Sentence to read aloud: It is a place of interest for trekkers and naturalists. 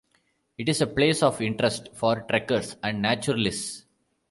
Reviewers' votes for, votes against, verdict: 2, 0, accepted